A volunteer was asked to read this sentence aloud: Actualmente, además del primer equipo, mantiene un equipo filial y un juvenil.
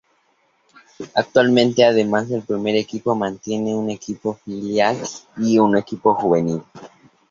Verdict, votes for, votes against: rejected, 0, 2